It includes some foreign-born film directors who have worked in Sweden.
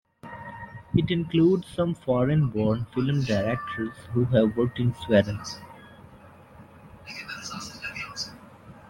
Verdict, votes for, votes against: rejected, 0, 2